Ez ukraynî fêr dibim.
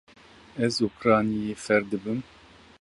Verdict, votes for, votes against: rejected, 1, 2